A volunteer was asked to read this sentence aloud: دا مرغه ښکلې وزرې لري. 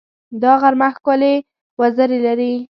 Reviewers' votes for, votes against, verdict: 1, 2, rejected